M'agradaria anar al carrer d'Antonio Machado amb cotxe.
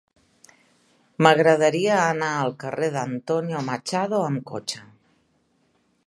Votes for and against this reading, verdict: 3, 0, accepted